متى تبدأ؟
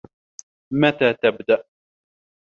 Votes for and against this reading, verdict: 2, 1, accepted